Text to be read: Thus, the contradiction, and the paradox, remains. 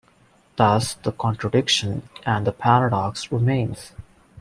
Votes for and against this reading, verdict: 2, 0, accepted